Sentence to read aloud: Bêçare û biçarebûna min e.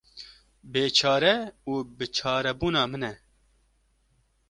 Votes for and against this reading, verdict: 2, 0, accepted